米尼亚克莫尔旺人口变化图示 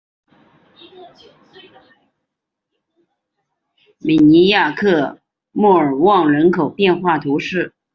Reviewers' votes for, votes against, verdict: 2, 3, rejected